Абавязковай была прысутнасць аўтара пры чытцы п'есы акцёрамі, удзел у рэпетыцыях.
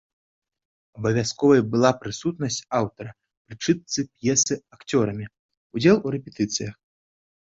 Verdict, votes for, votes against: accepted, 3, 0